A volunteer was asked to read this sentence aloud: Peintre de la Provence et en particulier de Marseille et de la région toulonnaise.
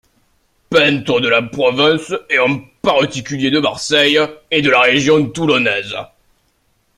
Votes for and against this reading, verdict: 0, 2, rejected